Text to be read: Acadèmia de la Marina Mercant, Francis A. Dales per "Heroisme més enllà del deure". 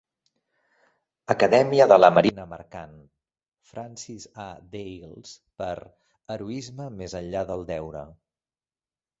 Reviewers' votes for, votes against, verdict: 1, 2, rejected